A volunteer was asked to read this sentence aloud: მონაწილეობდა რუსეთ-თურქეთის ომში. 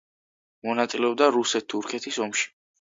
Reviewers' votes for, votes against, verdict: 2, 0, accepted